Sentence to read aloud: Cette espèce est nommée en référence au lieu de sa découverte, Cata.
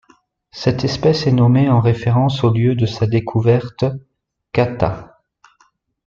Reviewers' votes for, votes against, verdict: 1, 2, rejected